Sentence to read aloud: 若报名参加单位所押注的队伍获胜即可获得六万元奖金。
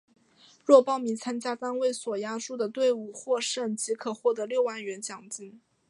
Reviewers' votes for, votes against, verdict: 2, 1, accepted